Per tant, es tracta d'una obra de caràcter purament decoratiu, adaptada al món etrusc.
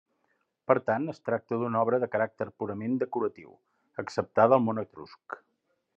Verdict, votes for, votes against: rejected, 0, 2